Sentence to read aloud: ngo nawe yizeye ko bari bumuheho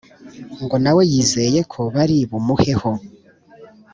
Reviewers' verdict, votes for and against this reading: accepted, 2, 0